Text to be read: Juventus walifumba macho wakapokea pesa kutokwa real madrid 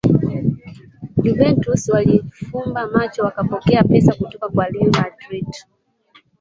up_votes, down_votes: 0, 2